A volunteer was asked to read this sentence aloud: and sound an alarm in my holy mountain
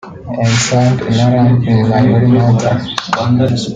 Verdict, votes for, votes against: rejected, 1, 2